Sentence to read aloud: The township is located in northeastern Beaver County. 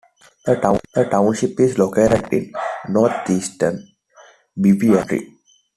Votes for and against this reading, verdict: 1, 2, rejected